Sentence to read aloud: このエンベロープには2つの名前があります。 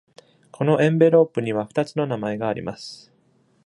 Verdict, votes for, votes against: rejected, 0, 2